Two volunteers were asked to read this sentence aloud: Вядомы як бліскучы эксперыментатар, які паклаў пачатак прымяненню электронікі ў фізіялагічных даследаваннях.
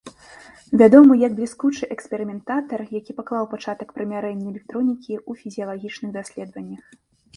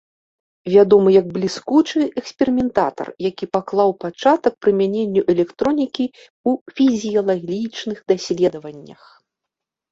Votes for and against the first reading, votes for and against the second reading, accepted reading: 0, 2, 2, 0, second